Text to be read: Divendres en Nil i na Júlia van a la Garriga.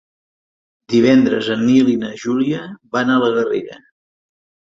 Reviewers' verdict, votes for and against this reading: accepted, 7, 0